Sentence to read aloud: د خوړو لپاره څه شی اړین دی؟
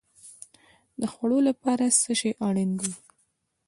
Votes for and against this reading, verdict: 2, 0, accepted